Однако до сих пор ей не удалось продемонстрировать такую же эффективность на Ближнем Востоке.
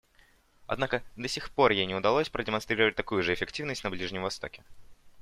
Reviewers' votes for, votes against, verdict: 2, 0, accepted